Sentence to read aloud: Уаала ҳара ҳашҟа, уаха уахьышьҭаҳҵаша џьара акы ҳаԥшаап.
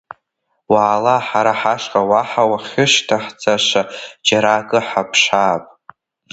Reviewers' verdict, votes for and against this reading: accepted, 2, 0